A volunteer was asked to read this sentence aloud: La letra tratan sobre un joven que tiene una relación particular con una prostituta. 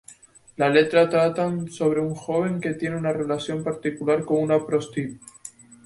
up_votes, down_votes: 2, 2